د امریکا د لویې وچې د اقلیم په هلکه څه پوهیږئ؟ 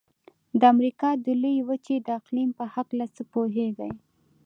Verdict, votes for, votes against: rejected, 0, 2